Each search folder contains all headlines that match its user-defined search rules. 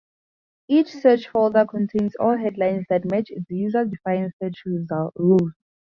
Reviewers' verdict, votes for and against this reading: rejected, 0, 4